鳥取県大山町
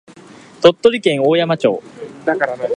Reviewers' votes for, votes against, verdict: 2, 1, accepted